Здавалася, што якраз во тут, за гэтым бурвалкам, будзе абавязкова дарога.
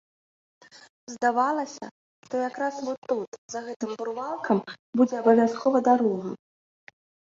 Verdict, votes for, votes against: accepted, 2, 0